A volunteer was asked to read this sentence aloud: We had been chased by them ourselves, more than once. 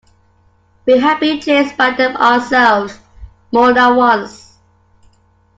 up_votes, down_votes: 2, 0